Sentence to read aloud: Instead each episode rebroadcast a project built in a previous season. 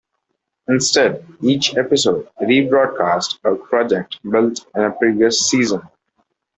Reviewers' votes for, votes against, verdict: 1, 2, rejected